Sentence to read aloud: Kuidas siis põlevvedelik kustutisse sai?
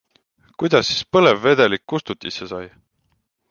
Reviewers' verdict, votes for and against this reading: accepted, 2, 1